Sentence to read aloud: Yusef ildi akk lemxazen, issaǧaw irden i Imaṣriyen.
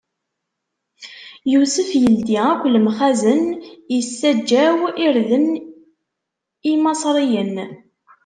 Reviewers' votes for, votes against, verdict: 2, 0, accepted